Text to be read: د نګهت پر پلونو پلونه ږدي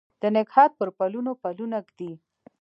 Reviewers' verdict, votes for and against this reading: rejected, 1, 2